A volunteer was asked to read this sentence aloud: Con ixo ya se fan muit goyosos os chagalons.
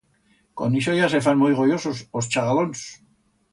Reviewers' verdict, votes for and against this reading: accepted, 2, 0